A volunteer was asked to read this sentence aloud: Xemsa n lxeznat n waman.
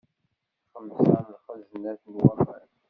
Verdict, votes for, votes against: rejected, 1, 2